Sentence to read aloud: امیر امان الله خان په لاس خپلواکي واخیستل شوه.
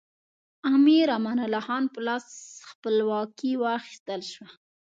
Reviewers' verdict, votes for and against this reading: accepted, 2, 0